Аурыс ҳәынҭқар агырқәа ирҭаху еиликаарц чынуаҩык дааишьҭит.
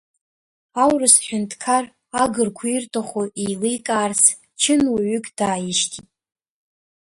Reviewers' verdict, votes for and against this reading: accepted, 2, 0